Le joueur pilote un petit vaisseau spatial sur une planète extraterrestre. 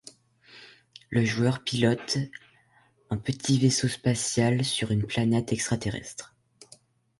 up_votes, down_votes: 2, 0